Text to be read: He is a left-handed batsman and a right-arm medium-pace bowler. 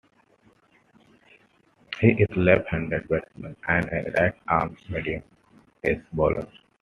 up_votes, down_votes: 0, 2